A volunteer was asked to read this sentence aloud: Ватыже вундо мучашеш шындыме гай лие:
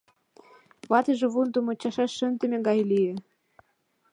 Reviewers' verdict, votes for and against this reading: accepted, 2, 0